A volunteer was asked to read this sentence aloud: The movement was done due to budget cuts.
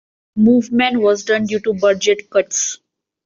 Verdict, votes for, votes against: rejected, 0, 2